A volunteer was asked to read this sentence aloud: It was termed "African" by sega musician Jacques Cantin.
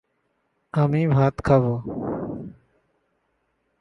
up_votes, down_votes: 0, 2